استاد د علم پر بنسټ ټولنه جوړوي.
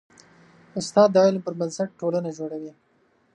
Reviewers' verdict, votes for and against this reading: accepted, 2, 0